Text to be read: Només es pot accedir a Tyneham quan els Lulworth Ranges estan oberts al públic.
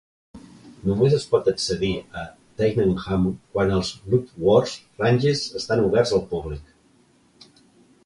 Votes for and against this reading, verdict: 2, 0, accepted